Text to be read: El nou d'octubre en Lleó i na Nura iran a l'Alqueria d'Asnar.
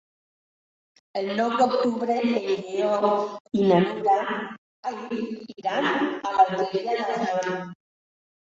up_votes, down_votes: 0, 2